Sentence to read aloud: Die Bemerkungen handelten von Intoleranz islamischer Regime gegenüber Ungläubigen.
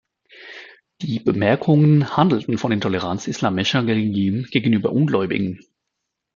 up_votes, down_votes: 0, 2